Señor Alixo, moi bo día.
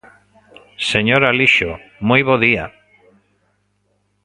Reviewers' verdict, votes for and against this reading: accepted, 2, 0